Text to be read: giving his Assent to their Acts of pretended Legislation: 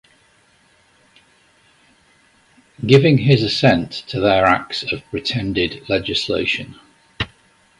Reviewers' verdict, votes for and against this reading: accepted, 2, 0